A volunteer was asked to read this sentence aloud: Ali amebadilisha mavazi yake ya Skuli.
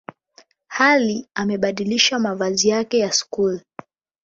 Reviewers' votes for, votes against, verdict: 8, 0, accepted